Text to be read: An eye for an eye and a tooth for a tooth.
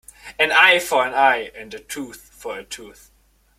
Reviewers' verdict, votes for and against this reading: accepted, 2, 0